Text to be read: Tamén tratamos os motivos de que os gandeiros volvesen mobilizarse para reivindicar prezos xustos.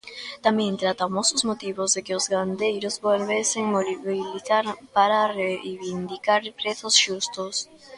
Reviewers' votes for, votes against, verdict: 0, 2, rejected